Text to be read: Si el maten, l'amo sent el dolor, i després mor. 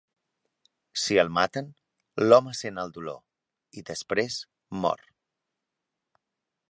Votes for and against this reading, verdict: 0, 3, rejected